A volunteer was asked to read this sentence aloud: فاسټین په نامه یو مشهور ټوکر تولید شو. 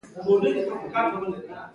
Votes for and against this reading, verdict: 2, 1, accepted